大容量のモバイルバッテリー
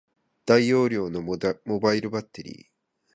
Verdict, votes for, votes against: rejected, 0, 2